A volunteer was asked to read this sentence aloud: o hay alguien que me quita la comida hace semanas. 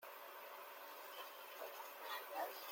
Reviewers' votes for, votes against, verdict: 0, 2, rejected